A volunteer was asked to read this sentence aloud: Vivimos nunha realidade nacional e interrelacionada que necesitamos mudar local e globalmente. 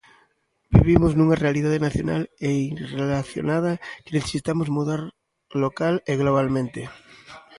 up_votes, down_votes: 0, 2